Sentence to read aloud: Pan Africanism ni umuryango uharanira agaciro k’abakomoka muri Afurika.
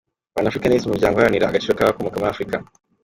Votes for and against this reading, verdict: 2, 0, accepted